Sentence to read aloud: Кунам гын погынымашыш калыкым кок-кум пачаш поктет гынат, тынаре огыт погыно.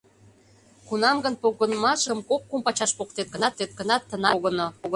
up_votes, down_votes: 0, 2